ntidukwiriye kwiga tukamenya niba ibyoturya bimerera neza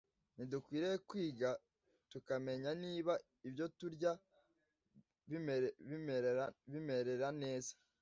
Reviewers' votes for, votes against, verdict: 0, 2, rejected